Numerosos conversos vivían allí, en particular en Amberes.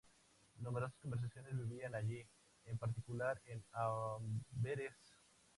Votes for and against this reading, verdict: 0, 2, rejected